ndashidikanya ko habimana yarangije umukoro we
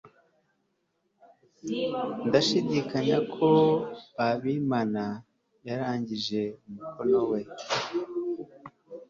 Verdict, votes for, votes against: accepted, 3, 0